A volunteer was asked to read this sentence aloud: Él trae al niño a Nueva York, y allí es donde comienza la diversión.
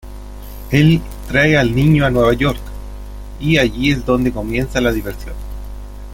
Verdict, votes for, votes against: accepted, 2, 0